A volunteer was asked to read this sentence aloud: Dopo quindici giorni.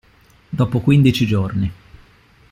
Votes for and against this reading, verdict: 2, 0, accepted